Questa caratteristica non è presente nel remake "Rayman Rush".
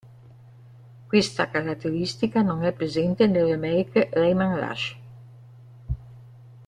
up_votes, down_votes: 0, 2